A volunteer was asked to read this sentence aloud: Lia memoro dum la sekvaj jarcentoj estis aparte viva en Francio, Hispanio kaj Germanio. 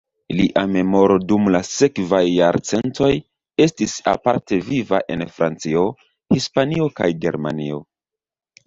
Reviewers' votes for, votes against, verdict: 2, 0, accepted